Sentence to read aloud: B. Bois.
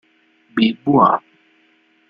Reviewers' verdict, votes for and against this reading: accepted, 2, 0